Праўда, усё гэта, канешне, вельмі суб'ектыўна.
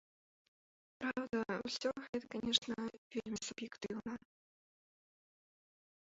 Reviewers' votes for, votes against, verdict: 0, 3, rejected